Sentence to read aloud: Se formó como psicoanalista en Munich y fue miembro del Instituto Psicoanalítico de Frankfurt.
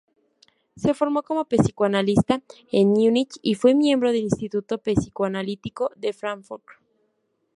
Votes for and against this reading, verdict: 2, 2, rejected